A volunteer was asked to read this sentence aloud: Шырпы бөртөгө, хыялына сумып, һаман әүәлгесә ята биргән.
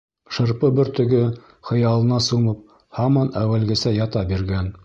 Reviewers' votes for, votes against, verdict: 2, 0, accepted